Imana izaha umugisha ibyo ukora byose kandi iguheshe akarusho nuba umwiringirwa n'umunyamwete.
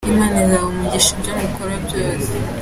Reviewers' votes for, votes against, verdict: 0, 2, rejected